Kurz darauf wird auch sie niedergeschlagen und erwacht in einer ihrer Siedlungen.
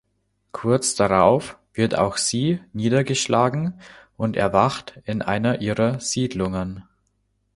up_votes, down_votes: 2, 0